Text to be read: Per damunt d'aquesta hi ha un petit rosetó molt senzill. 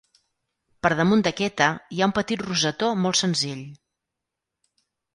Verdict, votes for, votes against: rejected, 0, 4